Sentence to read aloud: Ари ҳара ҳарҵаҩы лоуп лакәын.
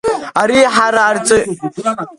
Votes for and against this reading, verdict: 0, 2, rejected